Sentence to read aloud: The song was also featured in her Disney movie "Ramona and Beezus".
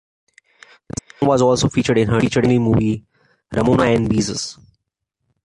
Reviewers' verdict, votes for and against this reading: rejected, 0, 2